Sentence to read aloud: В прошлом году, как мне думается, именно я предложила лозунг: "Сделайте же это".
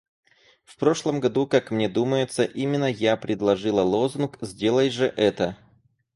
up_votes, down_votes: 2, 4